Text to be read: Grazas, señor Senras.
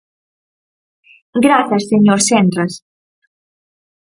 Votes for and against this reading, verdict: 4, 0, accepted